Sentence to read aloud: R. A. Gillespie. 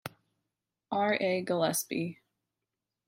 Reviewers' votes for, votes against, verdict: 2, 0, accepted